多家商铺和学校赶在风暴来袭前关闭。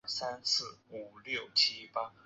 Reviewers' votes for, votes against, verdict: 0, 2, rejected